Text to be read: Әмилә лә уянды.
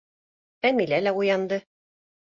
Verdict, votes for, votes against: accepted, 2, 1